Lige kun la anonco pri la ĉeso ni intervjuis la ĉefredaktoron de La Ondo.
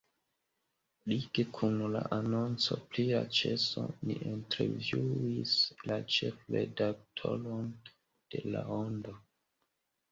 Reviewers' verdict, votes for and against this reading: rejected, 1, 2